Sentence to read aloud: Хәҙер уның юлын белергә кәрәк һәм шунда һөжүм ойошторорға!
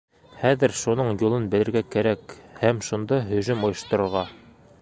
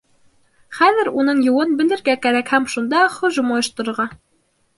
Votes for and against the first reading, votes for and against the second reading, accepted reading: 1, 2, 2, 0, second